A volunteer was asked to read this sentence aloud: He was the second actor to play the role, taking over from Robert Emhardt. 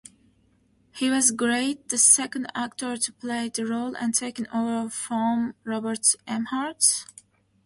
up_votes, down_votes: 0, 2